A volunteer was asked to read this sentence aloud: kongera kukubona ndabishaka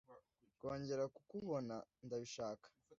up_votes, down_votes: 2, 0